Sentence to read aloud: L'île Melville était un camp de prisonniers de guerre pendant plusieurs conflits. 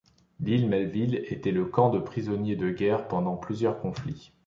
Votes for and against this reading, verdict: 1, 3, rejected